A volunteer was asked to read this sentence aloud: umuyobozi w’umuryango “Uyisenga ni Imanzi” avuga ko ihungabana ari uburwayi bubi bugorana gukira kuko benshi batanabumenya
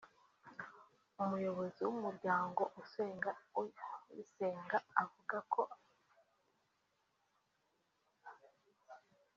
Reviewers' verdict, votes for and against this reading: rejected, 0, 2